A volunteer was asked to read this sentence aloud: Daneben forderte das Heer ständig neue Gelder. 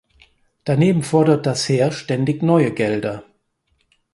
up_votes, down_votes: 0, 4